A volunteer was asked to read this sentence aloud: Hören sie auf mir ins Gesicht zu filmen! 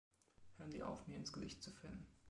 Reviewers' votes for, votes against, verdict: 2, 0, accepted